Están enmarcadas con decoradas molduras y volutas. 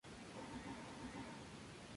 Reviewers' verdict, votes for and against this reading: rejected, 0, 2